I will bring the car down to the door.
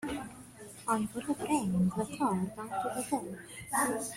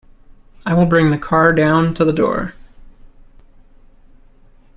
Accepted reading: second